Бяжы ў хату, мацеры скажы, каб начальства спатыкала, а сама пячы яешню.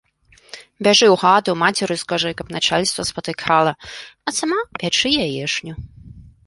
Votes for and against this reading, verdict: 2, 0, accepted